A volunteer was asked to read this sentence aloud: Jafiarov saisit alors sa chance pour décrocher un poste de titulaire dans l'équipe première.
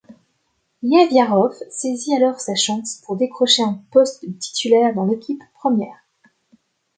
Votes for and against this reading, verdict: 1, 2, rejected